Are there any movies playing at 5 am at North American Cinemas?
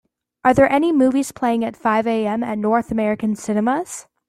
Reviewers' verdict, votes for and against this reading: rejected, 0, 2